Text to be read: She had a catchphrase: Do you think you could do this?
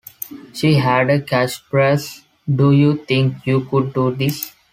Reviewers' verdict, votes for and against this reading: accepted, 2, 0